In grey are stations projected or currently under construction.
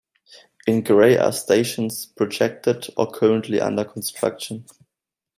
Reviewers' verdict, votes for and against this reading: accepted, 2, 0